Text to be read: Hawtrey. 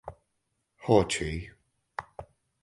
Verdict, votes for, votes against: accepted, 4, 0